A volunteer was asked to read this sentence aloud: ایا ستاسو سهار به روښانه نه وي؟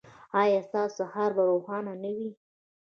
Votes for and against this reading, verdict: 2, 1, accepted